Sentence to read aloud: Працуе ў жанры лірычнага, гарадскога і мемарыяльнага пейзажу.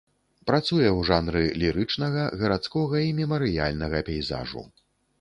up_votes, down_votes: 2, 0